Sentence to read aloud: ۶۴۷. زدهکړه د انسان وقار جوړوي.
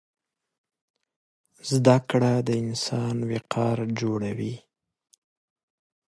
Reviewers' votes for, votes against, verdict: 0, 2, rejected